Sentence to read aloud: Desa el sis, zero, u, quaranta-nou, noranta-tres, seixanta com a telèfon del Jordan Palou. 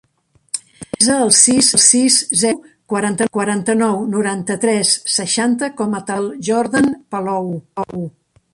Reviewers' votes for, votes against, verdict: 0, 4, rejected